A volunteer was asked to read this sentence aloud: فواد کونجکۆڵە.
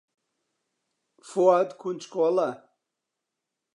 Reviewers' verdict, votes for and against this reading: accepted, 2, 0